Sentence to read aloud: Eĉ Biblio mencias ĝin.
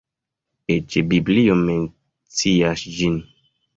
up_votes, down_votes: 0, 2